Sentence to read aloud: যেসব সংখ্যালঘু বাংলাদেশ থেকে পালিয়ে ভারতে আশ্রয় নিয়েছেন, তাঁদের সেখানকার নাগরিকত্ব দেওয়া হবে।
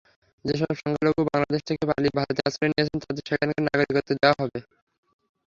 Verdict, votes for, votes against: rejected, 0, 3